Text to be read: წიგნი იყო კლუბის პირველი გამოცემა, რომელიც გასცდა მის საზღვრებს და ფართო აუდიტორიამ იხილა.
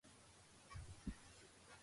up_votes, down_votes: 0, 2